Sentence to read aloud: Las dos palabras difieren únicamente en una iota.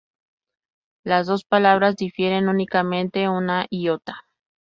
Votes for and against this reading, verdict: 2, 2, rejected